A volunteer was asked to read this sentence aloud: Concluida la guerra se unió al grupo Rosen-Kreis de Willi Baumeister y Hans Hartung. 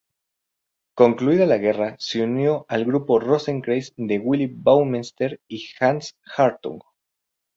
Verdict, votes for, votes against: rejected, 0, 2